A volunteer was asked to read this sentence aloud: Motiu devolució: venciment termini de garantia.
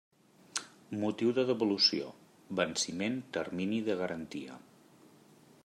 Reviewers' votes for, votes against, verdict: 0, 2, rejected